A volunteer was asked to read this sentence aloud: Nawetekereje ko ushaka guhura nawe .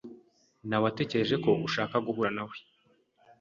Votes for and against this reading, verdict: 2, 0, accepted